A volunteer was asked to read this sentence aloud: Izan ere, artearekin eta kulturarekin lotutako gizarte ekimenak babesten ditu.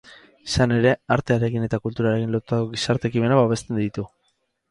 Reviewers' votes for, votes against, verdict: 2, 2, rejected